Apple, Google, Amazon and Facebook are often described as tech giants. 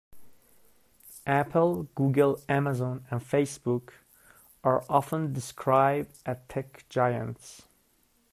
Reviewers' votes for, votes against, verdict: 0, 2, rejected